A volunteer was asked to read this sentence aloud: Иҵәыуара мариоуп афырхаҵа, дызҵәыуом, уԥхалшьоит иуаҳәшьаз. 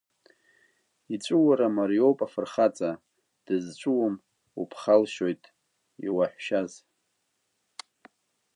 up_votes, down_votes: 0, 2